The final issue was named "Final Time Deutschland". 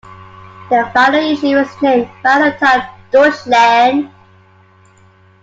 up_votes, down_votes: 2, 1